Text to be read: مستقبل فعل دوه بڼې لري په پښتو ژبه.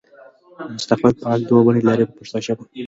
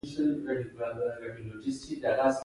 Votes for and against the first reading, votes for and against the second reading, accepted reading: 2, 0, 2, 3, first